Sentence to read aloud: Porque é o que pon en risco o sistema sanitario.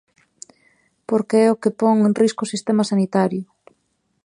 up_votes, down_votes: 2, 0